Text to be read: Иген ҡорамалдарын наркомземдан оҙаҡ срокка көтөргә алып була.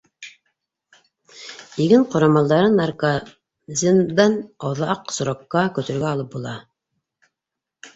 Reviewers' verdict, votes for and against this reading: rejected, 1, 2